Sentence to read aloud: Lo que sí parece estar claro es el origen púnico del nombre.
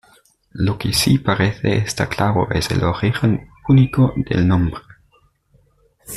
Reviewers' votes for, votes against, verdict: 2, 0, accepted